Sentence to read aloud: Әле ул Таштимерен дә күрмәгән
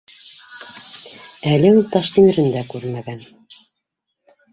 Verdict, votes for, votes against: accepted, 2, 0